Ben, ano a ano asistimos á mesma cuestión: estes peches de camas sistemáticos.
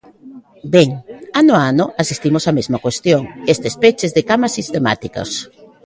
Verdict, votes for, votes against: rejected, 1, 2